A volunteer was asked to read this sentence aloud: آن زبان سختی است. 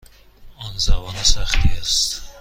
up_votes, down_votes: 2, 0